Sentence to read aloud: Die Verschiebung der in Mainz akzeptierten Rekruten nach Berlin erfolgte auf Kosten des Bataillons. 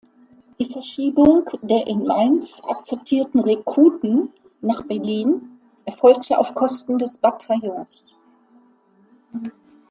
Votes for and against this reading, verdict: 1, 2, rejected